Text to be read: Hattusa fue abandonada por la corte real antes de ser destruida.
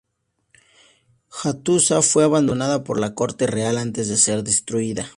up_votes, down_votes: 2, 0